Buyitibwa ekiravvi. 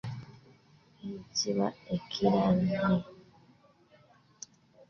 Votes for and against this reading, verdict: 1, 2, rejected